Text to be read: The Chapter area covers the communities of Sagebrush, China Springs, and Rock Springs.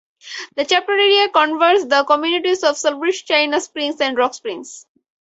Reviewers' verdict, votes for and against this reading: rejected, 0, 4